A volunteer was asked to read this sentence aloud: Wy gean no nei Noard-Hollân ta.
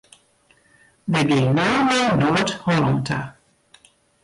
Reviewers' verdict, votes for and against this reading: rejected, 0, 2